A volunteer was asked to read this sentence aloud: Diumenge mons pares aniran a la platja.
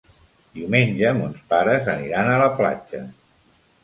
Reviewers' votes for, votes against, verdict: 3, 0, accepted